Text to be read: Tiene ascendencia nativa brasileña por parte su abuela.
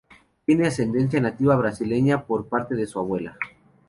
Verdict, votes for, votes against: accepted, 2, 0